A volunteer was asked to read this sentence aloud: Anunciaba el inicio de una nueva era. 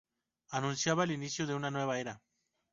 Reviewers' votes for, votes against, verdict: 4, 0, accepted